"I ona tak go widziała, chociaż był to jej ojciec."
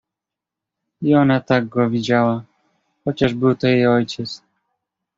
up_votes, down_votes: 2, 0